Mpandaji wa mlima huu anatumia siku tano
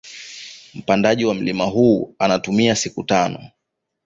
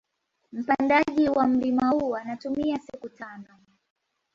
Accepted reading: first